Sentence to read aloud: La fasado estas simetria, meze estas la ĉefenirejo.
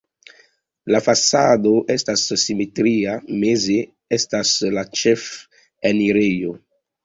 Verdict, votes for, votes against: rejected, 1, 2